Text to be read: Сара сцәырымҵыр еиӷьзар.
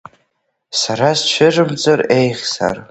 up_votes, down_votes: 1, 2